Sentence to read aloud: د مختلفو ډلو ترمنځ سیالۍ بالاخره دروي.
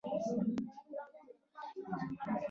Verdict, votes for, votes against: rejected, 0, 2